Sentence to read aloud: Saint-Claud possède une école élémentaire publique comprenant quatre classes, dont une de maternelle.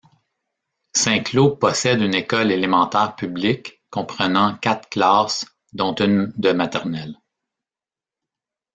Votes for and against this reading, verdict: 2, 0, accepted